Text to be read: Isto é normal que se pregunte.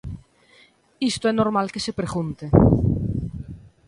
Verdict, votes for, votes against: accepted, 2, 0